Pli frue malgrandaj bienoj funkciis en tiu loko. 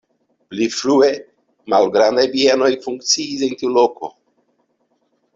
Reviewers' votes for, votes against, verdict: 2, 0, accepted